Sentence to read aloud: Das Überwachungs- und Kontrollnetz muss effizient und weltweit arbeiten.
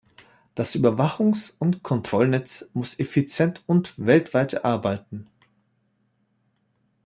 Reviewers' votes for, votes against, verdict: 2, 0, accepted